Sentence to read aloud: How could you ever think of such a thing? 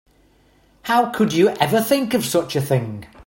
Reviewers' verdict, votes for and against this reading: accepted, 2, 0